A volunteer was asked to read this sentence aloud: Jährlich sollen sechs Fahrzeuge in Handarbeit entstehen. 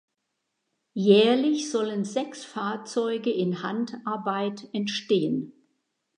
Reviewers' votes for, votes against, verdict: 2, 0, accepted